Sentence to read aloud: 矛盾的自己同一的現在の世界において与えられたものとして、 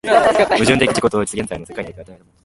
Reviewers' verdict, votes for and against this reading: rejected, 0, 2